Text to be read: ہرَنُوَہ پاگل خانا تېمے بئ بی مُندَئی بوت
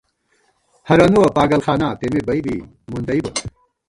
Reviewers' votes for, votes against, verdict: 1, 2, rejected